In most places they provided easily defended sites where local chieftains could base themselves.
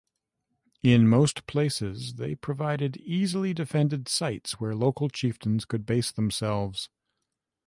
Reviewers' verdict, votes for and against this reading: accepted, 3, 0